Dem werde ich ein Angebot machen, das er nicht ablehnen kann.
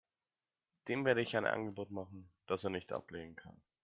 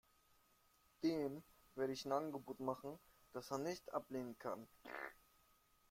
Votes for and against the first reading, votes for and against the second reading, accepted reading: 2, 0, 0, 2, first